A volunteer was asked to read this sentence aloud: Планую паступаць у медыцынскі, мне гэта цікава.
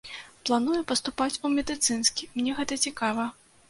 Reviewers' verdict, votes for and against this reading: accepted, 2, 0